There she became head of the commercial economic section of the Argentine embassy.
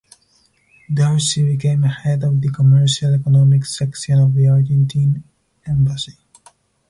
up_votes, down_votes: 4, 0